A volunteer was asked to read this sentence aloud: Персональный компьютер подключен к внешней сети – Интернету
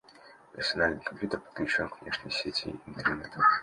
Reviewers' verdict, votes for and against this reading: rejected, 1, 2